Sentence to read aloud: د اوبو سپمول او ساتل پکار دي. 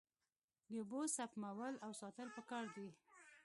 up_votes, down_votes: 1, 2